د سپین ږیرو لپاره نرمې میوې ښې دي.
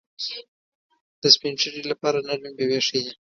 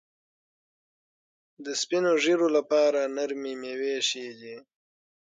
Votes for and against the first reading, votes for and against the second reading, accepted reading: 1, 2, 6, 3, second